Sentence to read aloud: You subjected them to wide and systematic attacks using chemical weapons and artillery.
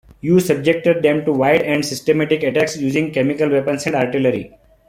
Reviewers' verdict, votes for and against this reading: accepted, 2, 0